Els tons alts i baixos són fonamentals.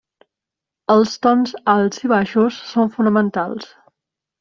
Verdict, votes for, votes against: accepted, 3, 0